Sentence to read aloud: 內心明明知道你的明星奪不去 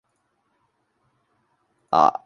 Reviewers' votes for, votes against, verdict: 0, 2, rejected